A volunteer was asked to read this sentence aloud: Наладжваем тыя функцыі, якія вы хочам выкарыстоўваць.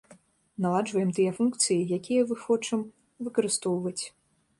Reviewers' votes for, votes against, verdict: 2, 0, accepted